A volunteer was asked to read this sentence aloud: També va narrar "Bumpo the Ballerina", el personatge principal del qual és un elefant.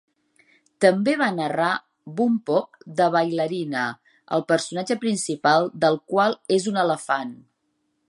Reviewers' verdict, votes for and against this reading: accepted, 2, 1